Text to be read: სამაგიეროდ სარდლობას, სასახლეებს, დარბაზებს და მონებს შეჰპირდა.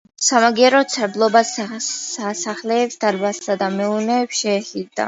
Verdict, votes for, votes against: rejected, 0, 2